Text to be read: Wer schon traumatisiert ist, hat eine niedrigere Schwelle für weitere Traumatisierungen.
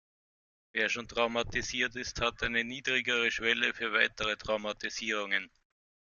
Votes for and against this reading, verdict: 2, 0, accepted